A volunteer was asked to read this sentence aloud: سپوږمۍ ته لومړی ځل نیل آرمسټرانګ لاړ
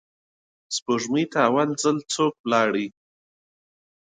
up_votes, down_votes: 1, 2